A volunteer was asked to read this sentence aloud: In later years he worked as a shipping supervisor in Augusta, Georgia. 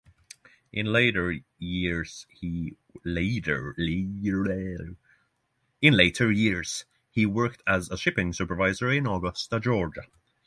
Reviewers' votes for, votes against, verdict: 0, 6, rejected